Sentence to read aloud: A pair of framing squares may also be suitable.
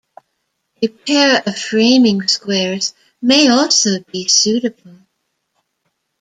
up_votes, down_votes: 1, 2